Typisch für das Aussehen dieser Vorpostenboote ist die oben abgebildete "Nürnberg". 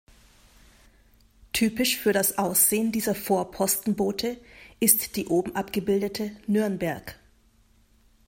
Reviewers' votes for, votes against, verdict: 2, 0, accepted